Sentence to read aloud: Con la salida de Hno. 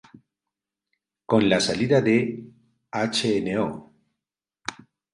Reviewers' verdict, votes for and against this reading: accepted, 2, 0